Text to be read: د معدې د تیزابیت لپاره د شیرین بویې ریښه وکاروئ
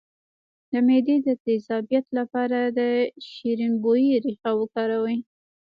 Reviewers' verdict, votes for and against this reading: rejected, 1, 2